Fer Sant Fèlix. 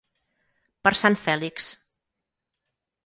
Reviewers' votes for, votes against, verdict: 0, 4, rejected